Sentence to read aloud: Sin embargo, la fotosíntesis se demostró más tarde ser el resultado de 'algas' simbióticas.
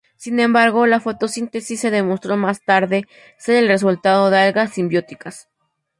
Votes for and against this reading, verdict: 4, 0, accepted